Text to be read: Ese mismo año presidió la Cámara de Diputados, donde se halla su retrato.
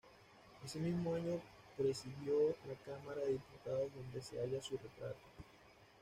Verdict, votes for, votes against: rejected, 1, 2